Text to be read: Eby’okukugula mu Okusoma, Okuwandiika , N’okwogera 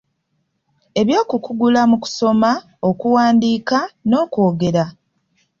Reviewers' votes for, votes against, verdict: 2, 0, accepted